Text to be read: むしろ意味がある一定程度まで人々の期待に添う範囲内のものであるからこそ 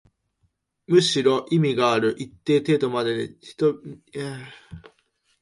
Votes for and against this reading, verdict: 0, 2, rejected